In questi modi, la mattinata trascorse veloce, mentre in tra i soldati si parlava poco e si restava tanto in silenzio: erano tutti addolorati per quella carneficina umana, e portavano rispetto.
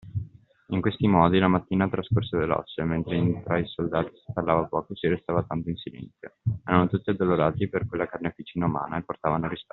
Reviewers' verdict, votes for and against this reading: rejected, 1, 2